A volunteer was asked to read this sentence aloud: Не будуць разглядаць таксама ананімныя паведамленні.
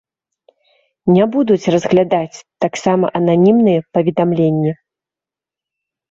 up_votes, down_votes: 2, 0